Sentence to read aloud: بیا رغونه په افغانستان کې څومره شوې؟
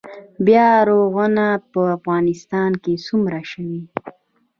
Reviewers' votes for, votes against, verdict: 2, 0, accepted